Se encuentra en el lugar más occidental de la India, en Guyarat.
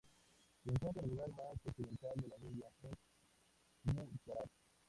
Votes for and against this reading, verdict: 0, 2, rejected